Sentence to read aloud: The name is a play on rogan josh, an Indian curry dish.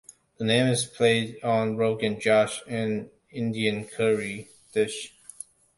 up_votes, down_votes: 1, 2